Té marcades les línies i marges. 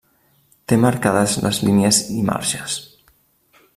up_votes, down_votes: 2, 0